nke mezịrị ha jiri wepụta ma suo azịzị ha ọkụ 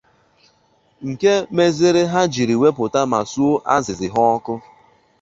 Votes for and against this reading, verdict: 2, 0, accepted